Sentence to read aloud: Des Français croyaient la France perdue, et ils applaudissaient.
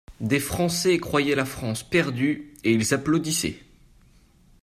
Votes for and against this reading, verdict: 2, 1, accepted